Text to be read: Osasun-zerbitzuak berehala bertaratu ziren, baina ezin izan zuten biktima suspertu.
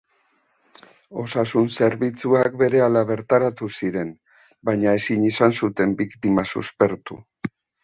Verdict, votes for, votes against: accepted, 2, 0